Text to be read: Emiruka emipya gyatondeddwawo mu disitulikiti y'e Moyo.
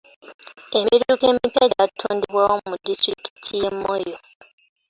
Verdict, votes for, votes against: rejected, 1, 2